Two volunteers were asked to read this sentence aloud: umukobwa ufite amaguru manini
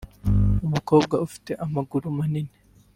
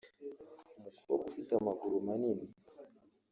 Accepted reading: first